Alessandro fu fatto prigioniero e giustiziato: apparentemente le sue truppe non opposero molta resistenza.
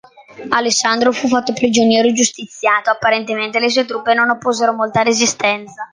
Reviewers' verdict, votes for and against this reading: accepted, 2, 0